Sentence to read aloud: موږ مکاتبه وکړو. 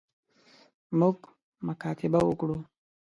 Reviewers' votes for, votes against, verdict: 3, 0, accepted